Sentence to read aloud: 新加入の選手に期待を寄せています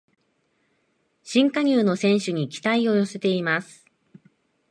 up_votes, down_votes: 3, 0